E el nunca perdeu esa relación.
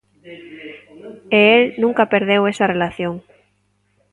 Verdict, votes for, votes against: rejected, 0, 2